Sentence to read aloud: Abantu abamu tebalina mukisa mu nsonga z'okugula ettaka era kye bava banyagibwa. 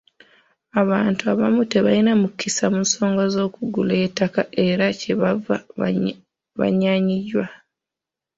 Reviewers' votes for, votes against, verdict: 0, 2, rejected